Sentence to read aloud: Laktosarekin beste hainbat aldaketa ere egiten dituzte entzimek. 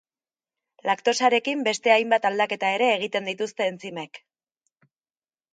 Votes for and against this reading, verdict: 2, 0, accepted